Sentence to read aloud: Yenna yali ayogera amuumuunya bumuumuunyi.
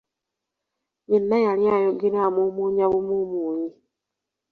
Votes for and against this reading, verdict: 2, 1, accepted